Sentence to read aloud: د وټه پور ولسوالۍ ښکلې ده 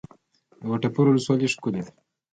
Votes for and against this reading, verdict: 1, 2, rejected